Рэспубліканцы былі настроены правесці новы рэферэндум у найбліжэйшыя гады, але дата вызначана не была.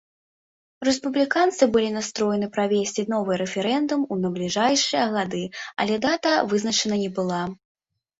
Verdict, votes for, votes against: rejected, 0, 2